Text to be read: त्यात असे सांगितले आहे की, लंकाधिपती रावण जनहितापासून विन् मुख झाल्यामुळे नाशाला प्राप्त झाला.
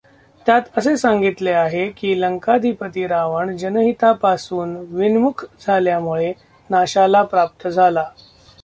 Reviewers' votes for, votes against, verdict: 0, 2, rejected